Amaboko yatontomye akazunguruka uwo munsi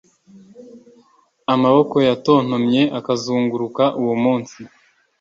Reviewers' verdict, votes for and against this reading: accepted, 2, 0